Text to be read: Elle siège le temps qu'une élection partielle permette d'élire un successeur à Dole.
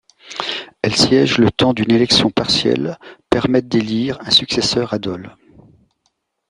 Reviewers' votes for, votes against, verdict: 1, 2, rejected